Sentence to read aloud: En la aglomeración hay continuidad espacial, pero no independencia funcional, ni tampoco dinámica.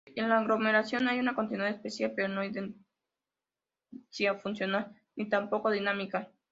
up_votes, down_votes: 0, 2